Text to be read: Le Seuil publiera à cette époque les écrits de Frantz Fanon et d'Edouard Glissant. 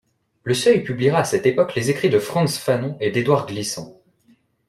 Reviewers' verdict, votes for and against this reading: accepted, 2, 0